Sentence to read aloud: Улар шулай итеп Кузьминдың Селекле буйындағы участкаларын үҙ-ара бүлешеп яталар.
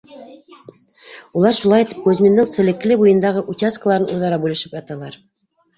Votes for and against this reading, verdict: 0, 2, rejected